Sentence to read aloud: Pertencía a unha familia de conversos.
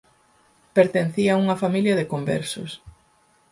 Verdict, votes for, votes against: accepted, 6, 0